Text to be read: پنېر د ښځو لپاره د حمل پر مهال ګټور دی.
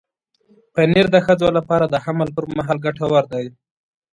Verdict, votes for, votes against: accepted, 2, 0